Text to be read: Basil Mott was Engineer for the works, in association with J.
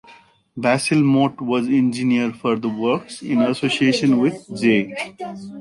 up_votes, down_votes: 2, 1